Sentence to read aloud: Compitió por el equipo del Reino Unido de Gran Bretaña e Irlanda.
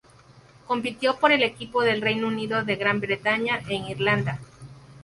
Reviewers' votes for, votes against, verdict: 4, 0, accepted